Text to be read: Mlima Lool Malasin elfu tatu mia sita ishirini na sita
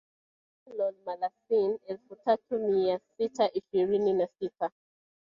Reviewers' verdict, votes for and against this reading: rejected, 1, 3